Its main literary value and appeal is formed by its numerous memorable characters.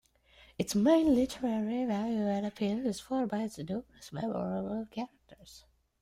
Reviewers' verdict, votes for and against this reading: accepted, 2, 1